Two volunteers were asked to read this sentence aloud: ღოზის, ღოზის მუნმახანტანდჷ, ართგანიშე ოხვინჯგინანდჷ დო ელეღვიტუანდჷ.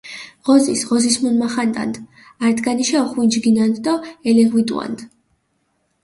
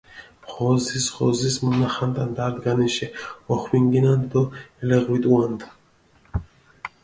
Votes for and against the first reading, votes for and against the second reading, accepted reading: 2, 0, 0, 2, first